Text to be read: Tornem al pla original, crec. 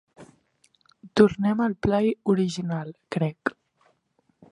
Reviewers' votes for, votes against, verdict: 0, 2, rejected